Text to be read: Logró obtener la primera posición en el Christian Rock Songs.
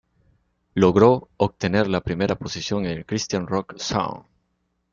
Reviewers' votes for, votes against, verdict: 2, 0, accepted